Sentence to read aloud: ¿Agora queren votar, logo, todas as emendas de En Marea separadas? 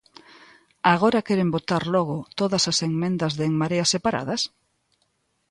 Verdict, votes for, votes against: rejected, 0, 3